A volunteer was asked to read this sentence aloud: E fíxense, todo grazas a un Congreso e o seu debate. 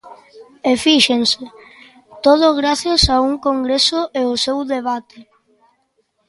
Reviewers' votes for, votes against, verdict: 2, 0, accepted